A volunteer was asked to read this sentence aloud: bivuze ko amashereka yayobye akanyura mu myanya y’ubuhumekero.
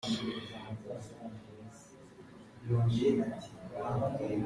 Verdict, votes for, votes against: rejected, 0, 2